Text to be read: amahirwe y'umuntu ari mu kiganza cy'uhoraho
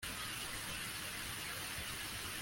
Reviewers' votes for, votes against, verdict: 0, 2, rejected